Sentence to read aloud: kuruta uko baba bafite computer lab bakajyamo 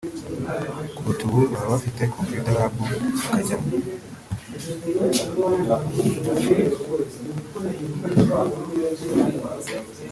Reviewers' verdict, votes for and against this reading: rejected, 1, 2